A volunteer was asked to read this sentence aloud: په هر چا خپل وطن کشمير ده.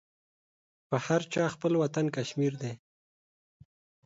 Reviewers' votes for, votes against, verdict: 2, 0, accepted